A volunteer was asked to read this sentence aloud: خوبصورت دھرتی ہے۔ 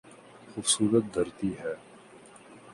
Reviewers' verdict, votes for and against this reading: accepted, 3, 0